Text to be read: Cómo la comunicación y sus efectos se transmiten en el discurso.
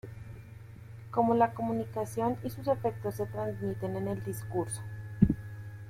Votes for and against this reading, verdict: 2, 0, accepted